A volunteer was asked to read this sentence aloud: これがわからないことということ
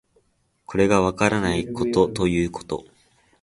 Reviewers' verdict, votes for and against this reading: accepted, 2, 0